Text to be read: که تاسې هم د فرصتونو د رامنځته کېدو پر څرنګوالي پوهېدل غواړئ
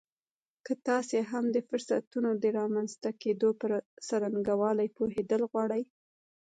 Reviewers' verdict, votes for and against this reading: rejected, 1, 2